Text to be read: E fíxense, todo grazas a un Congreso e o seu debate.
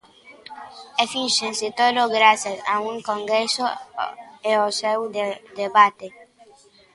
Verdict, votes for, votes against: rejected, 0, 2